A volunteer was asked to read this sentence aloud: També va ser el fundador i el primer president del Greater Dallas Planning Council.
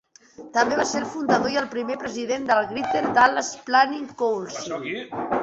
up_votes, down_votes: 2, 1